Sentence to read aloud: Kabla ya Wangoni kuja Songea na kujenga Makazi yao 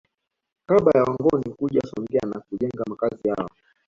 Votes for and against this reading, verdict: 0, 2, rejected